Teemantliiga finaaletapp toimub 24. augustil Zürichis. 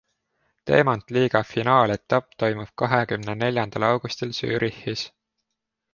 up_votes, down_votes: 0, 2